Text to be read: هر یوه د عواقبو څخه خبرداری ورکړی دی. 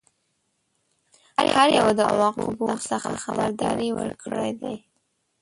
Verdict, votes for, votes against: rejected, 1, 2